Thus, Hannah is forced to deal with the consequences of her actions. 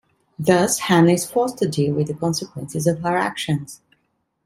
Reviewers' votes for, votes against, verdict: 2, 0, accepted